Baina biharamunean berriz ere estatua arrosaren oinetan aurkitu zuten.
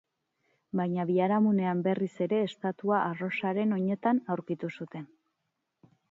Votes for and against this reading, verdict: 2, 2, rejected